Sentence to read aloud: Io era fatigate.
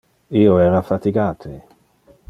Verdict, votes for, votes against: accepted, 2, 0